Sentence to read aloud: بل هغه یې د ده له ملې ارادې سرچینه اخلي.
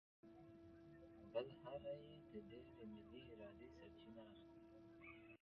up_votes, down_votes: 1, 2